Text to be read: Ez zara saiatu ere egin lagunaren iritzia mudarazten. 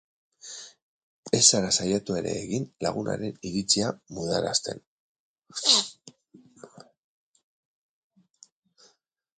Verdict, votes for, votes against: accepted, 4, 0